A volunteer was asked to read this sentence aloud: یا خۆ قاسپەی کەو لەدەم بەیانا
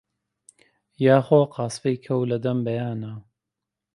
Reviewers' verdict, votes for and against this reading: accepted, 2, 0